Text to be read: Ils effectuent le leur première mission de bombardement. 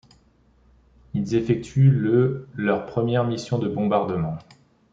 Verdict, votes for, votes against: accepted, 2, 0